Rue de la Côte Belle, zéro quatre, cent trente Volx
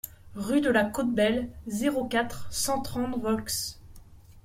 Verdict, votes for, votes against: accepted, 2, 0